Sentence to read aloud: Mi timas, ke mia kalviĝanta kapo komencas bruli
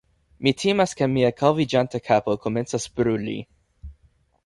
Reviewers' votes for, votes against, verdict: 1, 2, rejected